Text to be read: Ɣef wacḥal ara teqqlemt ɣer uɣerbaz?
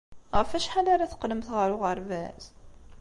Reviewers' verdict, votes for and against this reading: accepted, 2, 0